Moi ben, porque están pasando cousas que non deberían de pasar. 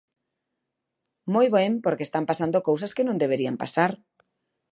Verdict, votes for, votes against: rejected, 1, 2